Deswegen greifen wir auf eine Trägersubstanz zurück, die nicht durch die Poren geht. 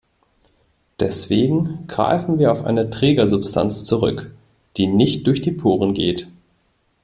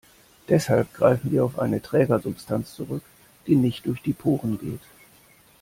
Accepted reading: first